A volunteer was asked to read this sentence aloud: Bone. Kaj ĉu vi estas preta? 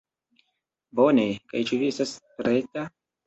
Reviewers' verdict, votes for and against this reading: accepted, 2, 1